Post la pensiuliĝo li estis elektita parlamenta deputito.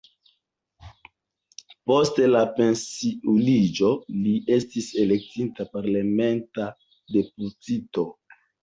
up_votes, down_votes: 0, 2